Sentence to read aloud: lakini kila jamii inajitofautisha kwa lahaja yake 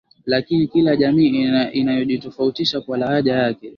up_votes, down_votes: 11, 3